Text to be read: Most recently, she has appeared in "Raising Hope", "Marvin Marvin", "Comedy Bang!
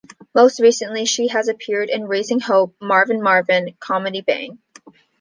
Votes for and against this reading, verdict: 2, 0, accepted